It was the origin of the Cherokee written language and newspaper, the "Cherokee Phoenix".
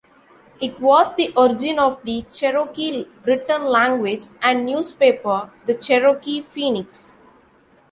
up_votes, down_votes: 2, 0